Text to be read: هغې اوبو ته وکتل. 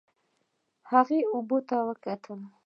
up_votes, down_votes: 1, 2